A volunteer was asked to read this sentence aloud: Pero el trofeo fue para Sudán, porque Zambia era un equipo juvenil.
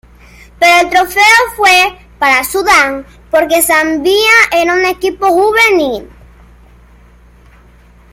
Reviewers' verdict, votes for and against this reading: accepted, 2, 1